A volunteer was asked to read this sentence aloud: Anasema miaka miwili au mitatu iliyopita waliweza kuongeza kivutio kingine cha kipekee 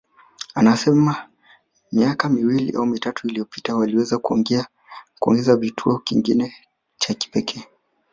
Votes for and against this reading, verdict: 2, 1, accepted